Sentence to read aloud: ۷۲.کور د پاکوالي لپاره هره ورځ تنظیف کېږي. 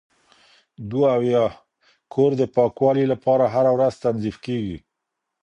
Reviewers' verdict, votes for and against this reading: rejected, 0, 2